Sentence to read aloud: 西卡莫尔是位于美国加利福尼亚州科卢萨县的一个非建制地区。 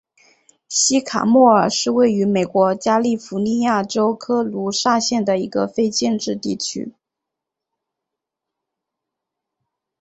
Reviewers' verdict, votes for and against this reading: accepted, 5, 0